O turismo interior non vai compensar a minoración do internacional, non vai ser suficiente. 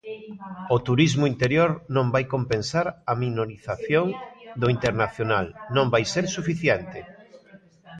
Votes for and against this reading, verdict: 0, 2, rejected